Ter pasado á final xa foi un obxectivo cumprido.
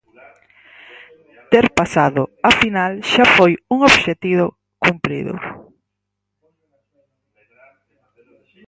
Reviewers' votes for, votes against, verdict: 0, 6, rejected